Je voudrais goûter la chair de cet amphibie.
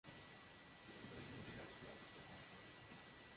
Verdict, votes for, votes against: rejected, 0, 2